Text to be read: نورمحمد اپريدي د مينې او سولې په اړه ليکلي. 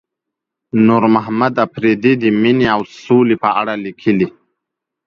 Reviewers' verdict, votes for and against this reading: accepted, 2, 0